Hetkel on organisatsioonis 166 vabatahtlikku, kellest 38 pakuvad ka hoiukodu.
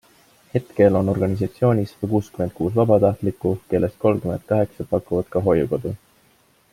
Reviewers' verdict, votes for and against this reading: rejected, 0, 2